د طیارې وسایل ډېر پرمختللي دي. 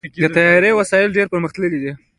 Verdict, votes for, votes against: accepted, 2, 1